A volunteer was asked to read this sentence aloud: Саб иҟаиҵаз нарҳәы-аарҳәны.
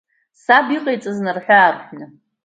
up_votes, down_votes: 2, 0